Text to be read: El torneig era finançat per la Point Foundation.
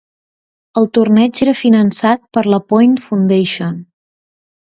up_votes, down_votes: 2, 0